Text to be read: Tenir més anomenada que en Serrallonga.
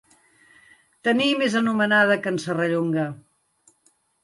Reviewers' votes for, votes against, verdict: 3, 0, accepted